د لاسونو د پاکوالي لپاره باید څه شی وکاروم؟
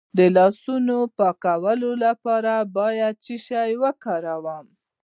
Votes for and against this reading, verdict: 1, 2, rejected